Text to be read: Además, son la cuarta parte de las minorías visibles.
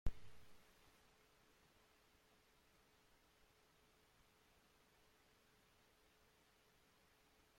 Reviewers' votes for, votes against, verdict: 0, 2, rejected